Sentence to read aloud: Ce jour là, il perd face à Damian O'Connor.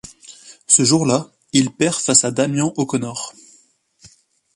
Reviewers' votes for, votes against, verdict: 2, 0, accepted